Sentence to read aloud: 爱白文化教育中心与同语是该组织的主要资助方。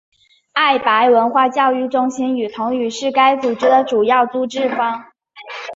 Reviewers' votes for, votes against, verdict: 2, 1, accepted